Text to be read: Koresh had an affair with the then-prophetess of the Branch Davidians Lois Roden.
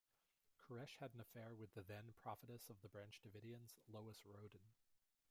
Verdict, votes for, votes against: rejected, 1, 2